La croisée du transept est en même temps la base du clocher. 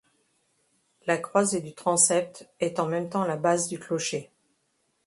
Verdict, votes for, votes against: accepted, 2, 0